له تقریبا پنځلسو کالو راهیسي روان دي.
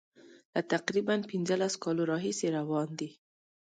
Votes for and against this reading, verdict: 2, 0, accepted